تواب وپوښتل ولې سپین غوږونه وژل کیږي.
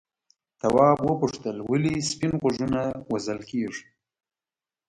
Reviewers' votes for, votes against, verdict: 2, 1, accepted